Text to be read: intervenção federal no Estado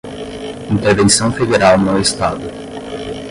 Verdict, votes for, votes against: rejected, 0, 10